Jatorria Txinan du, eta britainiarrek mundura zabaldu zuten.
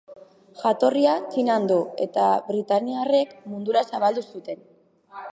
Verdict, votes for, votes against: accepted, 6, 1